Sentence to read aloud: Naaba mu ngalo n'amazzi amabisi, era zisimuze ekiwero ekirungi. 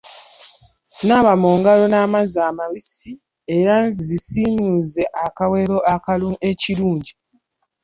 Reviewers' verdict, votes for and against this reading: rejected, 0, 2